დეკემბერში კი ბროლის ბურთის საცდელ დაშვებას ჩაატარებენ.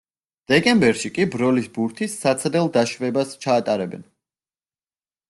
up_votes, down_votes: 2, 0